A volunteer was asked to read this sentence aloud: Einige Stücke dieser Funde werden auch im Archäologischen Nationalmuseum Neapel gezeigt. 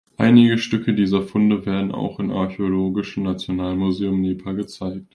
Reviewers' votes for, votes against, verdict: 0, 3, rejected